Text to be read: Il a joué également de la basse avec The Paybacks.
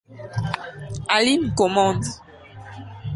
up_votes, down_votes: 0, 2